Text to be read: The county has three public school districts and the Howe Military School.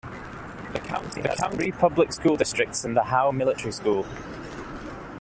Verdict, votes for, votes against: rejected, 0, 2